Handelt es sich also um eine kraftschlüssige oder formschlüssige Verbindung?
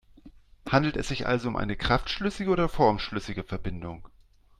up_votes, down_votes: 2, 0